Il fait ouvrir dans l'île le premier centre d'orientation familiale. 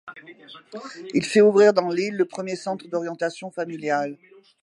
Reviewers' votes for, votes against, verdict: 2, 0, accepted